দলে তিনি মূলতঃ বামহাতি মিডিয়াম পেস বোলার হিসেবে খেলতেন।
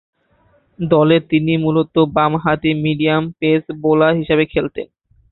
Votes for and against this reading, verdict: 5, 3, accepted